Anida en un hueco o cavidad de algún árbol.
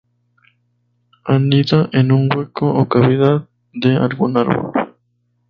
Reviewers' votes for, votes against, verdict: 0, 2, rejected